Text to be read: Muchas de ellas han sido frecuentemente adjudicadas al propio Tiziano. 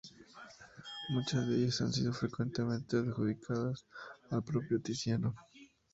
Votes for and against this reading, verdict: 2, 0, accepted